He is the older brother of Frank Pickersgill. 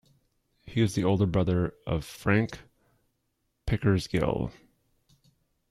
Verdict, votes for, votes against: rejected, 0, 2